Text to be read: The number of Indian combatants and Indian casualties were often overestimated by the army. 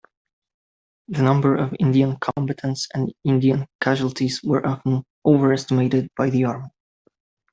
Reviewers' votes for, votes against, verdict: 1, 2, rejected